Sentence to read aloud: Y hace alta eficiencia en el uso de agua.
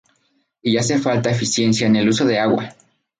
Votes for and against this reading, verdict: 0, 2, rejected